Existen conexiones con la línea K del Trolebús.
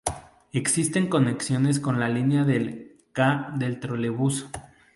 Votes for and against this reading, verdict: 0, 2, rejected